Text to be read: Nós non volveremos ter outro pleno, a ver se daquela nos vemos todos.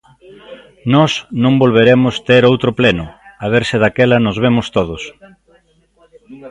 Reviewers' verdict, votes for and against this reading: accepted, 2, 1